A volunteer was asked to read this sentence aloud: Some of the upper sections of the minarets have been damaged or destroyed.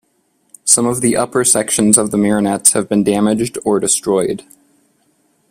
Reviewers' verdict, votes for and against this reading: rejected, 0, 2